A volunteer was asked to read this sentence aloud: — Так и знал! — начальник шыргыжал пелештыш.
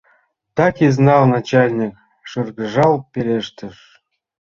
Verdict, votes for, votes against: accepted, 2, 0